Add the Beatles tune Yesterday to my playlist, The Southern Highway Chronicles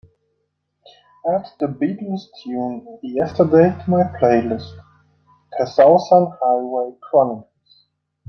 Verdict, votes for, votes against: accepted, 2, 0